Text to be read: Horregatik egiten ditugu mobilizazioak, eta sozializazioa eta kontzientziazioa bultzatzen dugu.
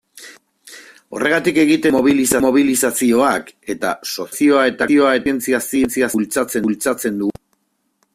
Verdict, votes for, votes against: rejected, 0, 2